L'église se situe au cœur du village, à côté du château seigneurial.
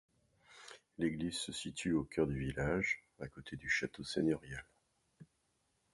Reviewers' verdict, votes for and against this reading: accepted, 2, 0